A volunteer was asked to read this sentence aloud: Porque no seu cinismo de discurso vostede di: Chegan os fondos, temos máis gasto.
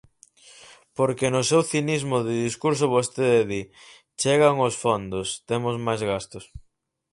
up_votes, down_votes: 2, 4